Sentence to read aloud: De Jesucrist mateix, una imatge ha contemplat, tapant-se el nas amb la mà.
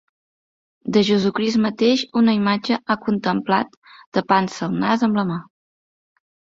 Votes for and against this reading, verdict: 2, 0, accepted